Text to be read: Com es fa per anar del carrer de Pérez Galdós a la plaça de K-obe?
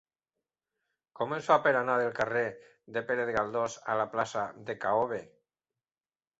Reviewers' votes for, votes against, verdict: 2, 0, accepted